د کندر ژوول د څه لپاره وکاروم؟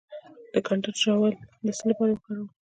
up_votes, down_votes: 1, 2